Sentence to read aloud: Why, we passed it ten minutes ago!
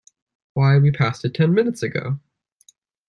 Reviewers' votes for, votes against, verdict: 2, 0, accepted